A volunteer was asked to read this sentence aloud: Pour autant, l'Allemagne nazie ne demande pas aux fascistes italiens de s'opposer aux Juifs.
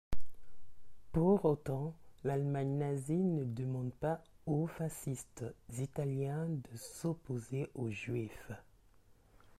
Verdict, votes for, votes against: rejected, 0, 2